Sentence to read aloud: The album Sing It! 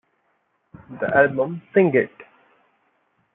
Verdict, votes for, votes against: accepted, 2, 0